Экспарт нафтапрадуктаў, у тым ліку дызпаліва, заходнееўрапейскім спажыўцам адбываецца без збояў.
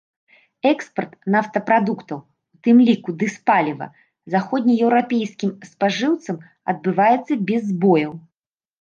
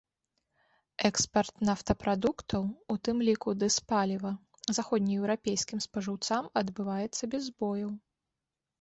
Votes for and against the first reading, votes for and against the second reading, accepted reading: 1, 2, 2, 0, second